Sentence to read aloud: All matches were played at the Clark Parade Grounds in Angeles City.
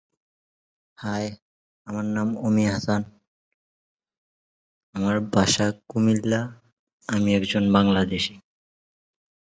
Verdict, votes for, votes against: rejected, 0, 2